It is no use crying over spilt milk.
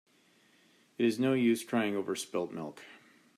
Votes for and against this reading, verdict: 2, 0, accepted